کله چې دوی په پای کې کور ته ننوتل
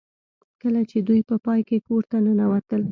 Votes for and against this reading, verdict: 2, 0, accepted